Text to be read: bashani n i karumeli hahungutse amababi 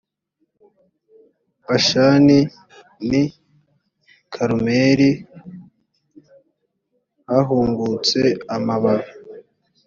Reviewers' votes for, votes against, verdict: 2, 0, accepted